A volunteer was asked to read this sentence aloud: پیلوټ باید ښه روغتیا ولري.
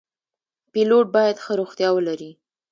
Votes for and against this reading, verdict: 1, 2, rejected